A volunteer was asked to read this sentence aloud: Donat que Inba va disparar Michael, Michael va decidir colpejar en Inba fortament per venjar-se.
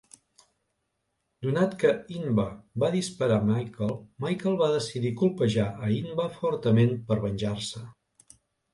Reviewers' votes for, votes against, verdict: 1, 2, rejected